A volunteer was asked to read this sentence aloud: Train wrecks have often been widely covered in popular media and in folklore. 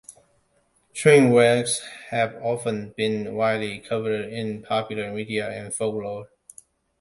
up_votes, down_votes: 2, 0